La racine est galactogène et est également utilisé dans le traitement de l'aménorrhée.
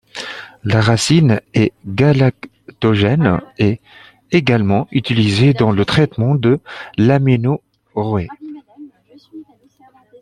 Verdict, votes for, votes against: rejected, 1, 2